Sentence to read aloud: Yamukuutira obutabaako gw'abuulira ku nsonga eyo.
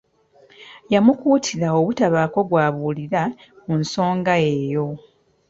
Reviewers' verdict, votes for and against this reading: rejected, 1, 2